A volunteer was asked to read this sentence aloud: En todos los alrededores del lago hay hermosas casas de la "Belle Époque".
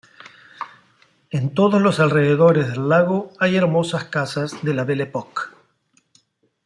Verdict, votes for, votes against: accepted, 2, 0